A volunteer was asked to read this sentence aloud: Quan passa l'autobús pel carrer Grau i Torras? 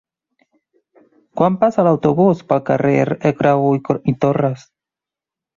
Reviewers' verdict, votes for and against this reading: rejected, 1, 2